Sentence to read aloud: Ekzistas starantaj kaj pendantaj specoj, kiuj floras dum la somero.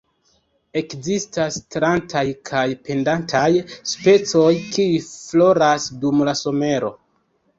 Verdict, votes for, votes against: rejected, 1, 2